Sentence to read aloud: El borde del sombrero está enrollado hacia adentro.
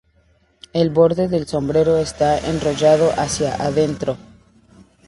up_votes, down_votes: 2, 0